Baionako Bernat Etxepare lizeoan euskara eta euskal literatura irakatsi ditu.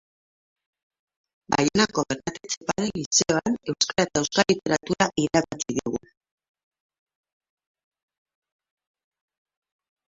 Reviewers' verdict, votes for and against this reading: rejected, 0, 2